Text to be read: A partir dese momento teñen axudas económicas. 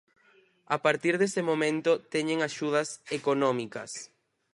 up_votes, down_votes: 4, 0